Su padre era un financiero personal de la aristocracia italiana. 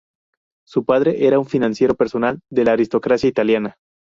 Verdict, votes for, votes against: rejected, 0, 2